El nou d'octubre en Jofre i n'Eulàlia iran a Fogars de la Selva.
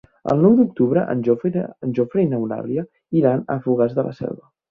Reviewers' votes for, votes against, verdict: 1, 2, rejected